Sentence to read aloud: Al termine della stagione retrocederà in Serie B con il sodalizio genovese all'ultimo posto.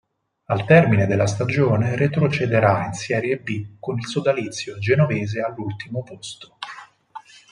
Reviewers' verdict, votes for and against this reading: accepted, 4, 2